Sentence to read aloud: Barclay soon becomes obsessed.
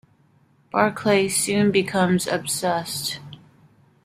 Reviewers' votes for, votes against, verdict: 2, 0, accepted